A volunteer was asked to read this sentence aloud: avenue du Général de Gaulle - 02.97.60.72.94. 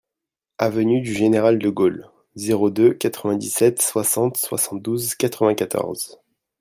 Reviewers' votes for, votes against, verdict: 0, 2, rejected